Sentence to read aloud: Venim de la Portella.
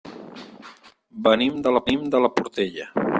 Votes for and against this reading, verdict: 0, 4, rejected